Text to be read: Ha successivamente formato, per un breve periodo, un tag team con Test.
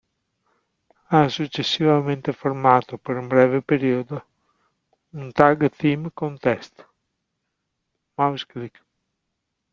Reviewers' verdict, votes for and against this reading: rejected, 0, 2